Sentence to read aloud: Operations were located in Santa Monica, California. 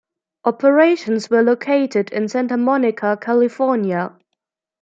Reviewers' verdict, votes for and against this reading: rejected, 1, 2